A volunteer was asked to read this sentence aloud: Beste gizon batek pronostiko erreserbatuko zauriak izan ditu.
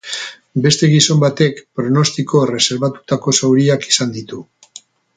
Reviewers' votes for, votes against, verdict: 2, 4, rejected